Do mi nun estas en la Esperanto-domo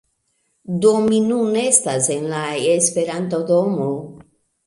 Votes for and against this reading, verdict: 2, 0, accepted